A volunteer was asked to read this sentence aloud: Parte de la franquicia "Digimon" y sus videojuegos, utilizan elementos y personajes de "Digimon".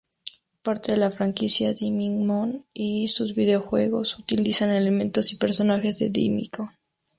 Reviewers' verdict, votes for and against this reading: accepted, 2, 0